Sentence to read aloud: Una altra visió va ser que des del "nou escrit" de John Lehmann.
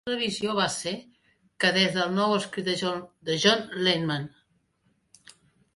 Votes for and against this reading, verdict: 0, 2, rejected